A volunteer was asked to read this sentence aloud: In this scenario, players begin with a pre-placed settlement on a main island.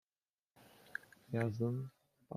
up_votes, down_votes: 0, 2